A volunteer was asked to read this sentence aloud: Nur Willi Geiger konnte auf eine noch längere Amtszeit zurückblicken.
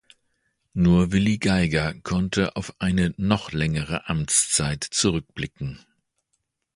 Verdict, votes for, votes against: accepted, 2, 0